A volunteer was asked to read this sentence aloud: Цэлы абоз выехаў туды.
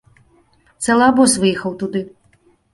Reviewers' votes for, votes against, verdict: 2, 0, accepted